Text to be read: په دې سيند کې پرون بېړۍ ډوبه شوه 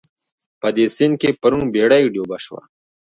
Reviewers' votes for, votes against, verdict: 2, 0, accepted